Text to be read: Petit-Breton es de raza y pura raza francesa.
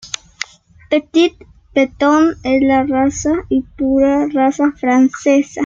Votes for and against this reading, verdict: 1, 2, rejected